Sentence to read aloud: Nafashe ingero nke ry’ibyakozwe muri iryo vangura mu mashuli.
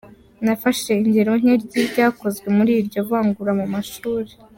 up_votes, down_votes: 2, 0